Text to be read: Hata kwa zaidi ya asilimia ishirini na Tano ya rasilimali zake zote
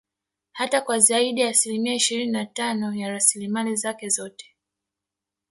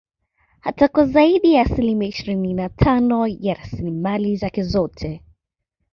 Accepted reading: second